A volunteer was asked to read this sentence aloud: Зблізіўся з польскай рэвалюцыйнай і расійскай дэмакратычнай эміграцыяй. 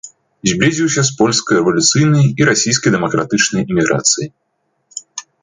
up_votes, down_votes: 2, 0